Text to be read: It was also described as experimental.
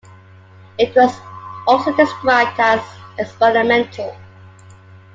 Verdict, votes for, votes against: accepted, 2, 0